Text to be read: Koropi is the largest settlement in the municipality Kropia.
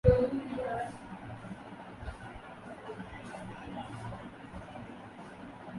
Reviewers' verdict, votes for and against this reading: rejected, 0, 2